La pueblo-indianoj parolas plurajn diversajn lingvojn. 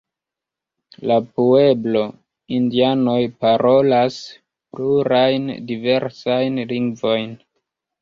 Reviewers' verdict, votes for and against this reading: rejected, 1, 2